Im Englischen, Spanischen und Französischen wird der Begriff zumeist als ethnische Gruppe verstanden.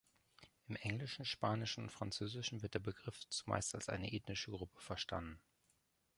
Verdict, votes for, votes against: rejected, 0, 2